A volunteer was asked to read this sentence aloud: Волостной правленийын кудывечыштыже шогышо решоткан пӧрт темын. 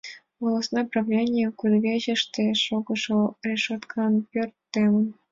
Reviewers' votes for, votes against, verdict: 1, 2, rejected